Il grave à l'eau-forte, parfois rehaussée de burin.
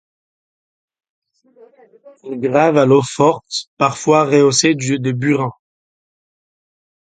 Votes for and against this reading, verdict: 0, 2, rejected